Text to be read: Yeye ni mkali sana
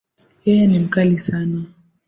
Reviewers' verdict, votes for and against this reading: accepted, 2, 0